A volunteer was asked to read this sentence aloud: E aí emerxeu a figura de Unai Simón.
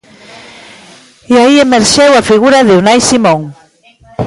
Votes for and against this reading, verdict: 1, 2, rejected